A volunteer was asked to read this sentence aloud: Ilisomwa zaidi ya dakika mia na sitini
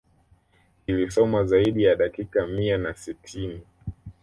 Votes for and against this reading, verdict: 2, 0, accepted